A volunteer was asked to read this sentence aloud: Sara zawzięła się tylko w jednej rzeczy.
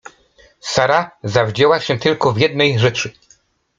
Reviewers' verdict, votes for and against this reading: rejected, 0, 2